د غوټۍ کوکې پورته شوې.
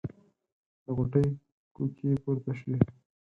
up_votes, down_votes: 2, 4